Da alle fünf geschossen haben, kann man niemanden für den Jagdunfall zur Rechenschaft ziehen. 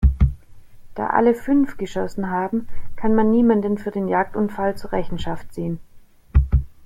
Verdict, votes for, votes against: accepted, 2, 0